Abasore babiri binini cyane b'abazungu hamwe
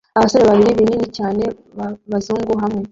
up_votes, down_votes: 0, 2